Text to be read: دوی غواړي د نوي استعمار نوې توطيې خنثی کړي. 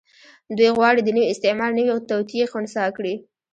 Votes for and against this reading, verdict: 1, 2, rejected